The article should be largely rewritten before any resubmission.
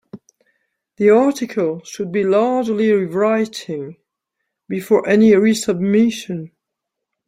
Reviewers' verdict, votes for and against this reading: rejected, 0, 2